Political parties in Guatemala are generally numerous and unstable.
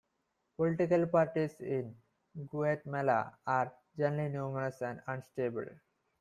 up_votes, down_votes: 1, 2